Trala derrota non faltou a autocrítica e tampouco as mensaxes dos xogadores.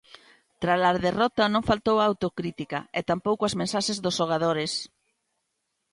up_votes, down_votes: 2, 0